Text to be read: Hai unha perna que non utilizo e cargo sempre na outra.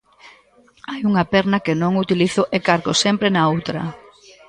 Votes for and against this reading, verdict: 1, 2, rejected